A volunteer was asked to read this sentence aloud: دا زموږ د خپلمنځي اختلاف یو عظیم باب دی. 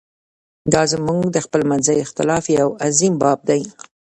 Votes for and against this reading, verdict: 0, 2, rejected